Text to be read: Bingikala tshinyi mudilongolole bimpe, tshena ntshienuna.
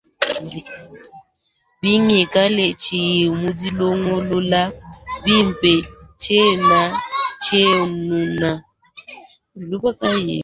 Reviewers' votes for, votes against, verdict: 2, 3, rejected